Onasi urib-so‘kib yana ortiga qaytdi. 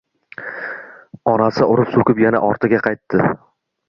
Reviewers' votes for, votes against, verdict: 1, 2, rejected